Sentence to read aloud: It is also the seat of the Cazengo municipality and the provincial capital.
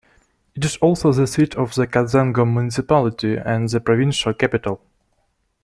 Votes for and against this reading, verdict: 1, 2, rejected